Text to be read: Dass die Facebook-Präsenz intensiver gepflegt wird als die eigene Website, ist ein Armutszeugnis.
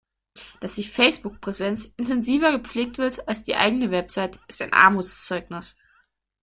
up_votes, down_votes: 0, 2